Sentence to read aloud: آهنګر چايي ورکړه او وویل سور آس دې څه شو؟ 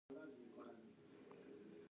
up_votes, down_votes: 1, 2